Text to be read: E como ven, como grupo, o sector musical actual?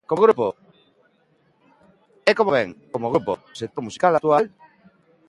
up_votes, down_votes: 0, 2